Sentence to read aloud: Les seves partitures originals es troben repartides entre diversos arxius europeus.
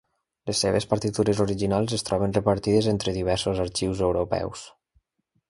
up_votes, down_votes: 2, 0